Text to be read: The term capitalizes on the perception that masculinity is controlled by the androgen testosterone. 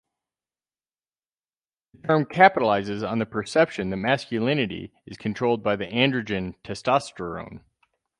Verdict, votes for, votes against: rejected, 0, 4